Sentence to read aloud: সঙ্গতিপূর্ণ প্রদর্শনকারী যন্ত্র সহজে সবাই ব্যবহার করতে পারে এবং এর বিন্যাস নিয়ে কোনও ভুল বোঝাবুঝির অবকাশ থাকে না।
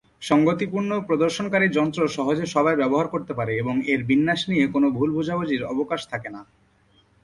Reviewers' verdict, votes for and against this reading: accepted, 2, 0